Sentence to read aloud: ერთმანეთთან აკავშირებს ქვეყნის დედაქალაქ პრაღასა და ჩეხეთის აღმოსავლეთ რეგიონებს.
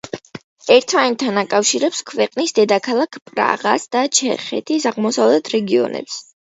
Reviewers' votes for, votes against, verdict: 2, 0, accepted